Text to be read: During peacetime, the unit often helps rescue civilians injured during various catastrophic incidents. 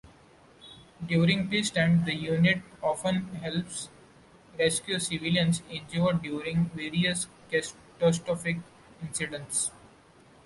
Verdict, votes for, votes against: rejected, 0, 2